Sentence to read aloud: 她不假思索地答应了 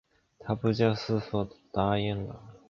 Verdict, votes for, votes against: accepted, 6, 0